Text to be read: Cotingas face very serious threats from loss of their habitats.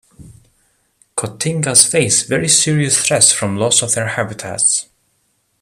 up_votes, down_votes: 2, 0